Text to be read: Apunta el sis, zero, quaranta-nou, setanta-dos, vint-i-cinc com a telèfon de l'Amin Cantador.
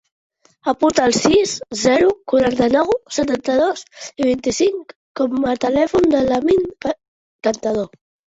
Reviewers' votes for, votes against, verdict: 1, 2, rejected